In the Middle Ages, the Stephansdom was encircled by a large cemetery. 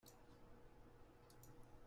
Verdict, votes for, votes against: rejected, 0, 2